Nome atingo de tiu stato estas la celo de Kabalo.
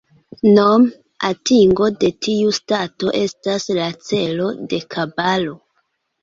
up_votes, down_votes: 0, 2